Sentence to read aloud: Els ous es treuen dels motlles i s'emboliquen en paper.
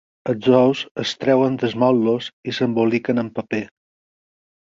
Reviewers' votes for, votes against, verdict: 4, 0, accepted